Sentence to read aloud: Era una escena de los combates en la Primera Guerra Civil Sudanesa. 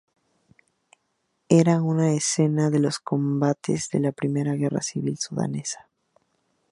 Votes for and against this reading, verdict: 0, 2, rejected